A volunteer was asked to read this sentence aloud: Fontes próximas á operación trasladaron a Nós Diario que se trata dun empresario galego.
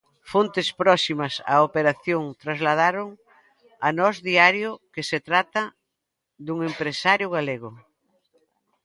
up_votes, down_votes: 2, 1